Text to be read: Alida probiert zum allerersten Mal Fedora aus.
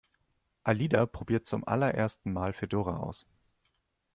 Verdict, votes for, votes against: accepted, 2, 0